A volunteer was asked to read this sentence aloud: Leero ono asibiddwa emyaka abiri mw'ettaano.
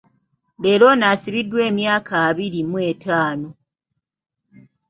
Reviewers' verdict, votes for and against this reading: accepted, 2, 0